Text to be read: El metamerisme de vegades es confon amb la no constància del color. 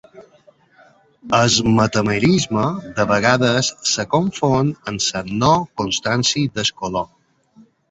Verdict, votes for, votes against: rejected, 1, 2